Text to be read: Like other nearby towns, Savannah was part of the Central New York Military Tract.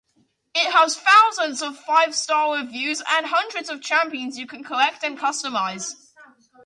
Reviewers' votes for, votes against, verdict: 0, 2, rejected